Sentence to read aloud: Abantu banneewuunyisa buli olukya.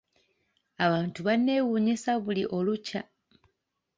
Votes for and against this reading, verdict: 2, 0, accepted